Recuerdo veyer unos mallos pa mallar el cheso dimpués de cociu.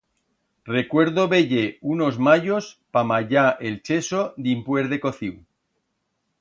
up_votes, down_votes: 2, 0